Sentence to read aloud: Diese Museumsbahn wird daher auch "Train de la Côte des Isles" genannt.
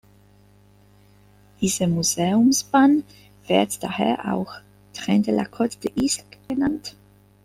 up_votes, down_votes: 2, 1